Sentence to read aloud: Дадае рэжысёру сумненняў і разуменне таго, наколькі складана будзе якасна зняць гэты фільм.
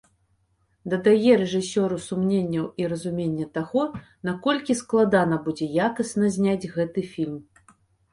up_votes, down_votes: 2, 0